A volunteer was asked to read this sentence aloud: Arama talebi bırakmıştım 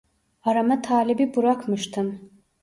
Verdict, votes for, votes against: rejected, 1, 2